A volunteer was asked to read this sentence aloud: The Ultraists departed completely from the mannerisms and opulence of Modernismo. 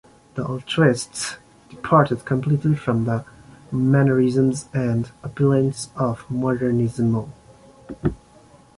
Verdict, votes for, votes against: accepted, 2, 0